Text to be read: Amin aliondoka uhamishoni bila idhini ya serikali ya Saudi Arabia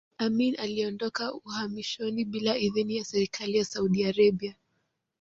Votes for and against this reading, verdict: 1, 2, rejected